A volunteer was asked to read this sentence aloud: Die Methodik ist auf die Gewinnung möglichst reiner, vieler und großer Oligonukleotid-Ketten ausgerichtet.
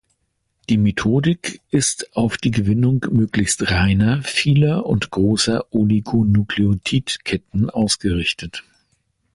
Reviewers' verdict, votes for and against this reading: accepted, 2, 0